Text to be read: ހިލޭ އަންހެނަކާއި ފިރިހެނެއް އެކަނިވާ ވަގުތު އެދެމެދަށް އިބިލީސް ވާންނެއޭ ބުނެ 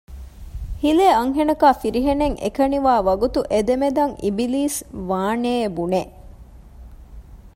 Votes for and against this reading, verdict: 0, 2, rejected